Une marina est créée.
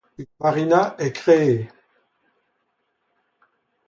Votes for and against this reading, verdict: 2, 0, accepted